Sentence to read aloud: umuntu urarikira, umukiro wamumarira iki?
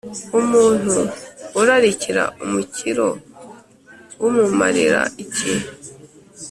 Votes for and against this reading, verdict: 0, 2, rejected